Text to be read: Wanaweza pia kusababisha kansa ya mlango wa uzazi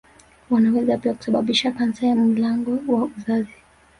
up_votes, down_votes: 1, 2